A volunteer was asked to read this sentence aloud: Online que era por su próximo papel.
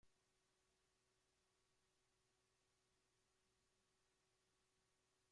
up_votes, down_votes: 0, 2